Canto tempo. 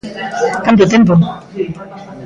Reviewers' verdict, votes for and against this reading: accepted, 2, 0